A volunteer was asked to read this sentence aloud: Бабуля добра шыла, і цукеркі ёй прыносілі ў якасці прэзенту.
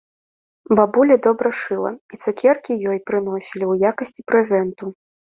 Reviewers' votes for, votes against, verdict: 0, 2, rejected